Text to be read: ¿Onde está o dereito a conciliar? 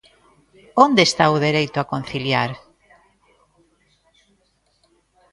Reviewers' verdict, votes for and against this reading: accepted, 2, 0